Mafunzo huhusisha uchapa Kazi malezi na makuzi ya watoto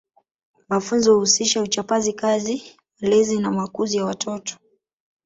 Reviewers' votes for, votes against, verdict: 1, 2, rejected